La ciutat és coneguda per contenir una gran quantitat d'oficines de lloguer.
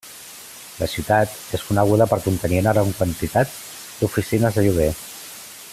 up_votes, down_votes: 0, 2